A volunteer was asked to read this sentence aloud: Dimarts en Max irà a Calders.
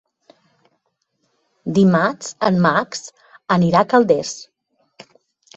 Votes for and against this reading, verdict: 0, 2, rejected